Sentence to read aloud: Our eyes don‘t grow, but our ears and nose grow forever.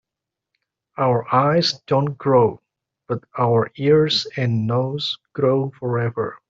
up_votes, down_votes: 2, 0